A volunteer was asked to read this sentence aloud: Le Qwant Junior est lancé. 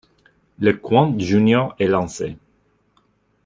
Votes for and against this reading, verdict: 2, 0, accepted